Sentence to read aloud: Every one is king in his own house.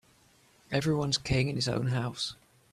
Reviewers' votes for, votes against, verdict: 0, 2, rejected